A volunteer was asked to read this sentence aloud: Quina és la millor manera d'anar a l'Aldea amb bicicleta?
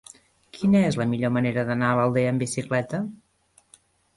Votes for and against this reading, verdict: 2, 0, accepted